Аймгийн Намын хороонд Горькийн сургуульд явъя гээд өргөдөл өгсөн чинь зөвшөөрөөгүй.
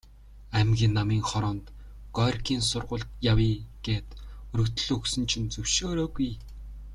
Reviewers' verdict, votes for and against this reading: accepted, 2, 0